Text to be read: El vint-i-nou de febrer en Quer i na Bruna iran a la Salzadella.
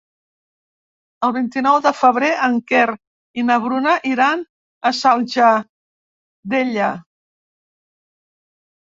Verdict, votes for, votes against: rejected, 0, 2